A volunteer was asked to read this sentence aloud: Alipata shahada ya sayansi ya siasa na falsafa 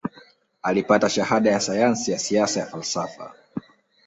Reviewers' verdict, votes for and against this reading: accepted, 2, 0